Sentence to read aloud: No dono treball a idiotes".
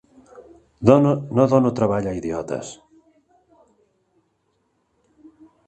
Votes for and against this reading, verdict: 1, 4, rejected